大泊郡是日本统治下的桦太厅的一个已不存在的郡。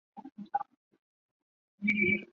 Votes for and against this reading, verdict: 3, 2, accepted